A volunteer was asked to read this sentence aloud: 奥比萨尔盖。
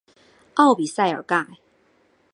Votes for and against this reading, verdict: 2, 0, accepted